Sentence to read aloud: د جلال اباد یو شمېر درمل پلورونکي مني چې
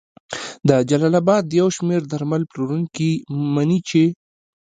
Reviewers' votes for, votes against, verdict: 1, 2, rejected